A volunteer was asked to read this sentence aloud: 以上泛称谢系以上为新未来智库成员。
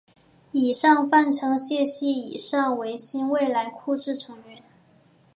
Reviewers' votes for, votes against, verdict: 3, 0, accepted